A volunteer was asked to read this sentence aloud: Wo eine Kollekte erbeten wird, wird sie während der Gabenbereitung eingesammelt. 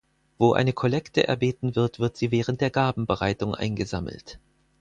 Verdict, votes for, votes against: accepted, 4, 0